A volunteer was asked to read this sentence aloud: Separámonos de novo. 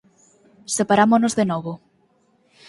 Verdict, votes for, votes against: accepted, 4, 0